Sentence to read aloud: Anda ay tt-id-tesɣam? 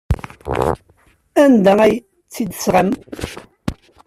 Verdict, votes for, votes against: rejected, 0, 2